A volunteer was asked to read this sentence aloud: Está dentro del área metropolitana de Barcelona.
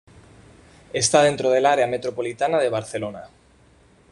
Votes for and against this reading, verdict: 2, 0, accepted